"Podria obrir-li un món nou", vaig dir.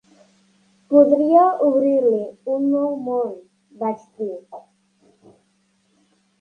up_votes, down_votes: 0, 3